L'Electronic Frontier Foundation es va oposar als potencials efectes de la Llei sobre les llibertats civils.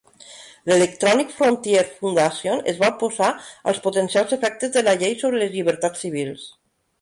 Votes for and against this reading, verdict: 1, 2, rejected